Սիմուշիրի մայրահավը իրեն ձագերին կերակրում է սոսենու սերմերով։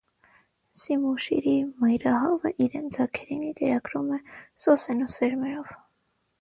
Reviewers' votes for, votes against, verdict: 3, 6, rejected